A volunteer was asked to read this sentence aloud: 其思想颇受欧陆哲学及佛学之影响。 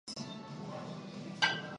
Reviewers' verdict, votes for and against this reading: rejected, 0, 2